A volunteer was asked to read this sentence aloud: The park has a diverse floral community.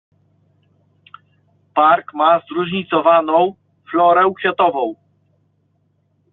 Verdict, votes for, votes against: rejected, 1, 2